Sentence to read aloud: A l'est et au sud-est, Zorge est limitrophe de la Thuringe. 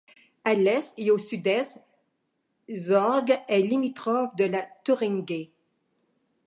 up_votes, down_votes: 2, 1